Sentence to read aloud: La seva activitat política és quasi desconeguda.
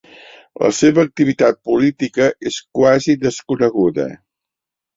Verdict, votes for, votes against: accepted, 3, 0